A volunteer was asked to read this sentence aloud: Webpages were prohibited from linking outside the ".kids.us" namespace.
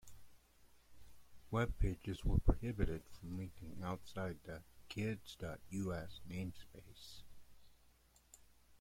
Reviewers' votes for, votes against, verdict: 0, 2, rejected